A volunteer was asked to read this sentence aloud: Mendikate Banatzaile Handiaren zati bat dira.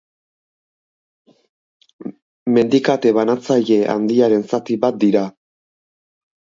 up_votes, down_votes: 6, 0